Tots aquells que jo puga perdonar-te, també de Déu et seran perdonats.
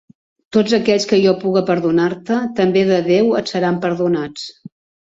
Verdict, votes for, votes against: accepted, 3, 0